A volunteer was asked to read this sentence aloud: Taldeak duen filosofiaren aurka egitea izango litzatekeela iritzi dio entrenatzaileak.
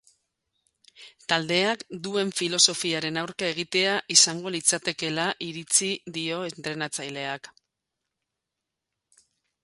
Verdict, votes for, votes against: accepted, 4, 0